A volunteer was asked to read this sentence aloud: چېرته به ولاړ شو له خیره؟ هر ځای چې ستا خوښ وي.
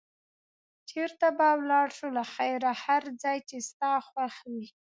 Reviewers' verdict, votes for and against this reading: accepted, 2, 0